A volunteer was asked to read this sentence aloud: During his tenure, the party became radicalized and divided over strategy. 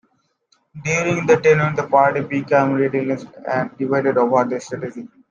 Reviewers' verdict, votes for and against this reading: rejected, 0, 2